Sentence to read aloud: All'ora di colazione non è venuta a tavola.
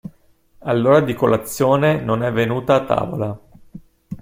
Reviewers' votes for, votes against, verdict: 2, 0, accepted